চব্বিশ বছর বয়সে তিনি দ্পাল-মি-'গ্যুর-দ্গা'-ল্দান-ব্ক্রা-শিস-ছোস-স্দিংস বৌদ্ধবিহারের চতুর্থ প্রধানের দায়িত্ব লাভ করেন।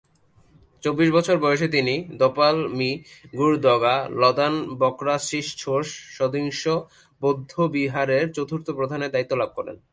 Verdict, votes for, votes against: rejected, 1, 2